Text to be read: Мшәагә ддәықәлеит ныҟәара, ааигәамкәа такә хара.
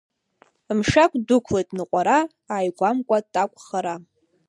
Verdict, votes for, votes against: accepted, 2, 1